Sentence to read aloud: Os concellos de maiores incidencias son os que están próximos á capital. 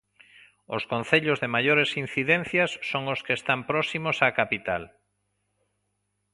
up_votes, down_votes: 2, 0